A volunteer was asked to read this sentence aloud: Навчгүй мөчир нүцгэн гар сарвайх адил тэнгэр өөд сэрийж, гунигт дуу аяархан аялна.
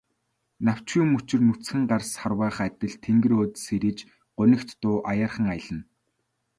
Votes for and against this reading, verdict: 2, 0, accepted